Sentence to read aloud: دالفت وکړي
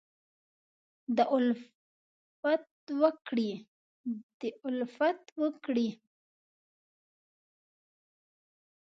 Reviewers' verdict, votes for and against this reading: rejected, 0, 2